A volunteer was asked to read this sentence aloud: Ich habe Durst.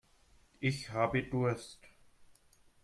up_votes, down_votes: 2, 0